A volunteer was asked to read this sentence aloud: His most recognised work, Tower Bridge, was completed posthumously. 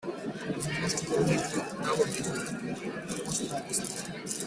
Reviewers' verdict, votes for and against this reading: rejected, 0, 2